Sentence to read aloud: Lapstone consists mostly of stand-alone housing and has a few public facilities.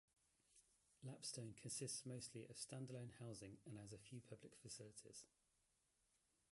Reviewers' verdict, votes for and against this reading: rejected, 1, 2